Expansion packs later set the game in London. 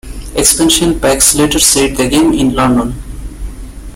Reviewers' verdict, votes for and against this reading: accepted, 2, 1